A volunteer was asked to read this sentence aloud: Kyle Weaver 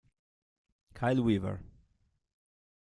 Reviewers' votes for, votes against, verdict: 3, 1, accepted